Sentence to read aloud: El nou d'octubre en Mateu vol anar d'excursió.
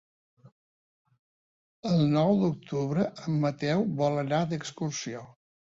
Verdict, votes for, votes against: accepted, 3, 0